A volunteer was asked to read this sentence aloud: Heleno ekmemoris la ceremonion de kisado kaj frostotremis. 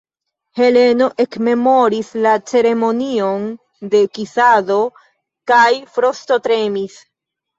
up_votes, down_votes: 2, 0